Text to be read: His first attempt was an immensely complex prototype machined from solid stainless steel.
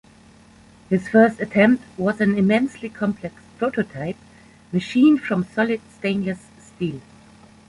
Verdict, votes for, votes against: accepted, 2, 1